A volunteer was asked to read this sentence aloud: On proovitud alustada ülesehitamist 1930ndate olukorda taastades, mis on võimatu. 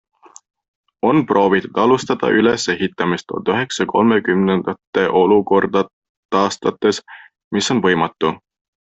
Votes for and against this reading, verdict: 0, 2, rejected